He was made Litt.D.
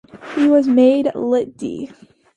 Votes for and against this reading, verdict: 2, 0, accepted